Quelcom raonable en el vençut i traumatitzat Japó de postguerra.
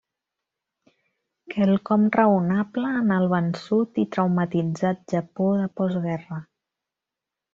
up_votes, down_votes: 2, 0